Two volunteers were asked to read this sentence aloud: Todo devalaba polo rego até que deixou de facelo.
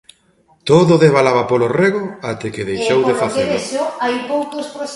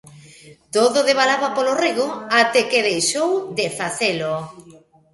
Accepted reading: second